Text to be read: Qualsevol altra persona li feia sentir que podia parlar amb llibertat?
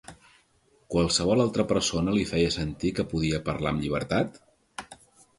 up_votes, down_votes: 2, 0